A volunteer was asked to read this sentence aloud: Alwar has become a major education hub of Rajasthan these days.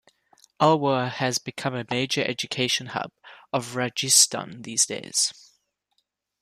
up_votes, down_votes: 2, 0